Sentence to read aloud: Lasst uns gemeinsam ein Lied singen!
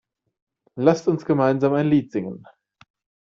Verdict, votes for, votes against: accepted, 2, 0